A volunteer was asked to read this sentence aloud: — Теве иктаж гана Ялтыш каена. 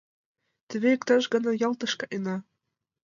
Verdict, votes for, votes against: accepted, 2, 0